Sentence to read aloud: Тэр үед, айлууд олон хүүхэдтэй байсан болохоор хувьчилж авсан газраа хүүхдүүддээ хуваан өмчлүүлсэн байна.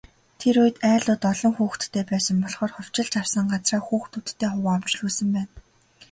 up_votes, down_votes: 0, 2